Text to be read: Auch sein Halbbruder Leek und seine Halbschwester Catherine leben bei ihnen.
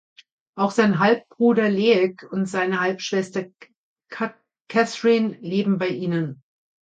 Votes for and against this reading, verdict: 0, 2, rejected